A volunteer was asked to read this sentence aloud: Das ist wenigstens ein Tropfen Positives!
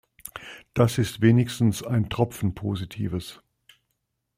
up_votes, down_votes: 2, 0